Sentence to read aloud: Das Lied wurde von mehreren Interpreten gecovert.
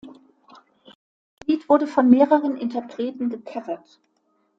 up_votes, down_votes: 1, 2